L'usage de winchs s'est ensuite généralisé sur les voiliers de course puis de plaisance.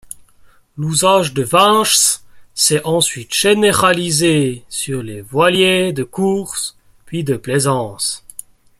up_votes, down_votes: 2, 1